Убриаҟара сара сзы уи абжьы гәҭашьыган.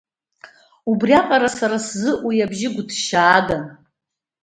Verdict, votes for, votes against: rejected, 0, 2